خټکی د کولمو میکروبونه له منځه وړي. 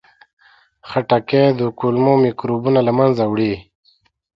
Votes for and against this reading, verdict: 2, 0, accepted